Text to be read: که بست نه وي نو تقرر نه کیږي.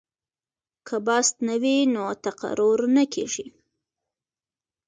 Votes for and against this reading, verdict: 2, 0, accepted